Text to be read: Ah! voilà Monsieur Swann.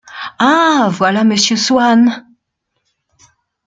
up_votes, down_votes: 2, 0